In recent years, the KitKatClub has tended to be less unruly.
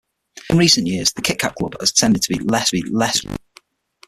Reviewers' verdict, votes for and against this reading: rejected, 0, 6